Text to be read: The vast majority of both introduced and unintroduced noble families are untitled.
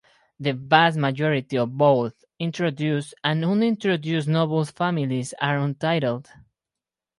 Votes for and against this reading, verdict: 0, 2, rejected